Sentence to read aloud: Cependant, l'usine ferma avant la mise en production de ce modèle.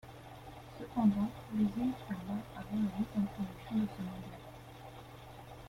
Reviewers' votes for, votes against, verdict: 0, 2, rejected